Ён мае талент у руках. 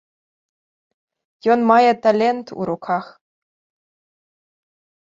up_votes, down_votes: 0, 2